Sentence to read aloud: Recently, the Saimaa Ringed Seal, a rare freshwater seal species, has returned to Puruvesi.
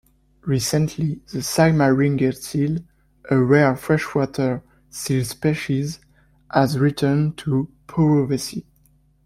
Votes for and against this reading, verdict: 1, 2, rejected